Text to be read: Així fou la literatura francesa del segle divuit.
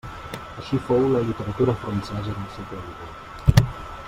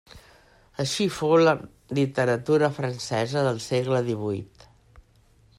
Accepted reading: second